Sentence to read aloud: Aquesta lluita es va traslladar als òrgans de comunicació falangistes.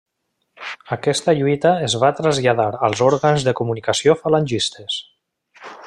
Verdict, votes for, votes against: accepted, 3, 0